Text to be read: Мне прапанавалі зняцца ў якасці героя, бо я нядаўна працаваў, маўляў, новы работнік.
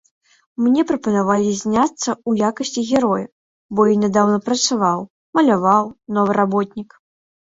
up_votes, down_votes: 1, 2